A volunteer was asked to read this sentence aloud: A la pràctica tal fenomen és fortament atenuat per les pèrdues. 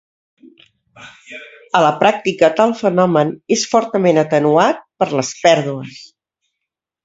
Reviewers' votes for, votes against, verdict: 2, 0, accepted